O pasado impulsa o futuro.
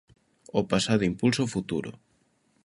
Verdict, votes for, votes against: accepted, 2, 0